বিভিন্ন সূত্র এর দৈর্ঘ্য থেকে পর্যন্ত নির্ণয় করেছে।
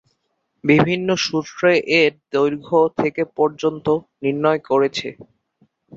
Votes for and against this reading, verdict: 3, 0, accepted